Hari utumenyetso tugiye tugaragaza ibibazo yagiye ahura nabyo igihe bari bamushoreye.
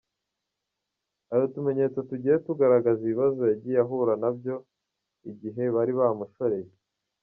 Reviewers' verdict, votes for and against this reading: rejected, 1, 2